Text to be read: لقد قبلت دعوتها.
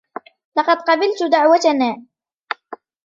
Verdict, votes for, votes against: rejected, 0, 2